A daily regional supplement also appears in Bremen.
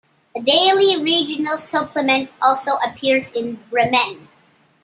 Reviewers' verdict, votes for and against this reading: rejected, 0, 2